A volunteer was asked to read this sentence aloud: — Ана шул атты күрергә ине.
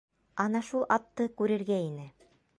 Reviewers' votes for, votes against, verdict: 0, 2, rejected